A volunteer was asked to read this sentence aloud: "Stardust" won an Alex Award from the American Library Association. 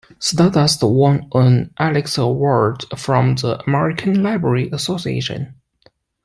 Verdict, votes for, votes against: accepted, 2, 0